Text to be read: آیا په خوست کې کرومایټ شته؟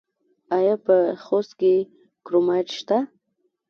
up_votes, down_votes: 2, 0